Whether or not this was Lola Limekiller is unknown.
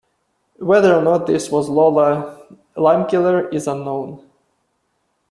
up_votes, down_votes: 2, 0